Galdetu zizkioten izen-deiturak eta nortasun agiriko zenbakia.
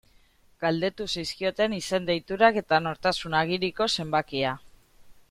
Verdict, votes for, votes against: accepted, 2, 0